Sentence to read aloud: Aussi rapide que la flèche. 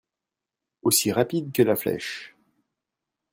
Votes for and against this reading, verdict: 2, 0, accepted